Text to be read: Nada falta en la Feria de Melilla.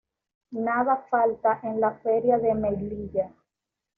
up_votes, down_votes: 2, 0